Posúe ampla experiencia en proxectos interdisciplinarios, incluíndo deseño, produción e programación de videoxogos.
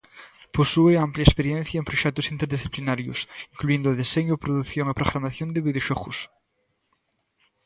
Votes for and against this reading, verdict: 2, 0, accepted